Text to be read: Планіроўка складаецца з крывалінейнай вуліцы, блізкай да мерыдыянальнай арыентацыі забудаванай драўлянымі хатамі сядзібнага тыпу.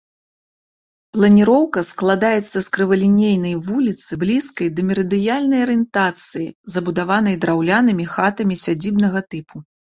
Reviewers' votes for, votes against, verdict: 1, 2, rejected